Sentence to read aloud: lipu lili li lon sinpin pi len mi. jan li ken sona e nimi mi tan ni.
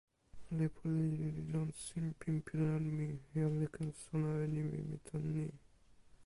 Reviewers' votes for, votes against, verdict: 1, 2, rejected